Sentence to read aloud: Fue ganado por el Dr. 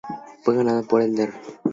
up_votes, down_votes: 2, 0